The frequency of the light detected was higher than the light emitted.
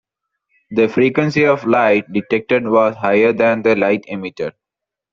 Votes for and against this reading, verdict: 1, 2, rejected